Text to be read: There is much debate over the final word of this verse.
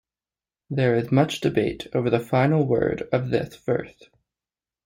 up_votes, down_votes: 0, 2